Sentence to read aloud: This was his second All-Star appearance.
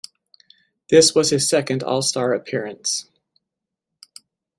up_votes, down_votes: 2, 0